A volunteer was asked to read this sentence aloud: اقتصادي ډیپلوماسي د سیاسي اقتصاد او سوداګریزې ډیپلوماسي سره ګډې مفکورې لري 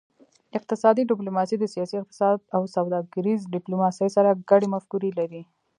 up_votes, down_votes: 2, 0